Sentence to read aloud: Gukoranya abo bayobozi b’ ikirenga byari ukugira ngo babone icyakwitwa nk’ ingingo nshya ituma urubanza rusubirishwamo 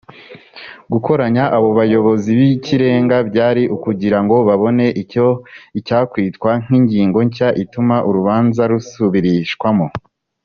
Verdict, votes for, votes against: rejected, 0, 2